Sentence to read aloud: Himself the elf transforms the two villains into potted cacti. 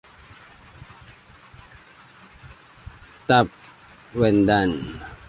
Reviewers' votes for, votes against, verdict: 0, 2, rejected